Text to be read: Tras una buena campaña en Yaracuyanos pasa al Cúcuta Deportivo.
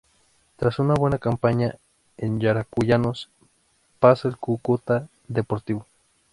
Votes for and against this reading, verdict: 0, 2, rejected